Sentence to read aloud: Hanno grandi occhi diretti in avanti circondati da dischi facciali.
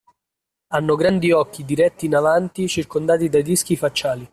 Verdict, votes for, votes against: rejected, 1, 2